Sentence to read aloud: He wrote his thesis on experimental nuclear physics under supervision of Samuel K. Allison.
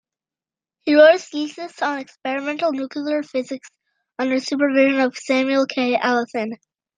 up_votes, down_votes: 1, 2